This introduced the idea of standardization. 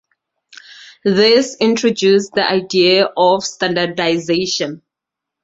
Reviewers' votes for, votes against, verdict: 2, 0, accepted